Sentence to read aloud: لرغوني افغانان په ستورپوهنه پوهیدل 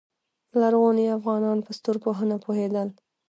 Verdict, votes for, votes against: rejected, 0, 2